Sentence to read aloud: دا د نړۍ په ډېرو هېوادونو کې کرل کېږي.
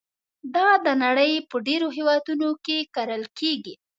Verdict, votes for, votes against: accepted, 2, 0